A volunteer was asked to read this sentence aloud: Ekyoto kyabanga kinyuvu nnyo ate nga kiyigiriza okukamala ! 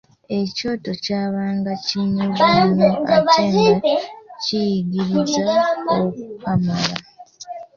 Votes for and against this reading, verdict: 2, 0, accepted